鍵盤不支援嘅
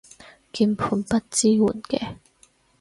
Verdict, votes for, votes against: accepted, 4, 0